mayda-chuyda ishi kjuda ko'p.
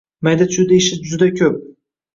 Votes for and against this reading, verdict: 1, 2, rejected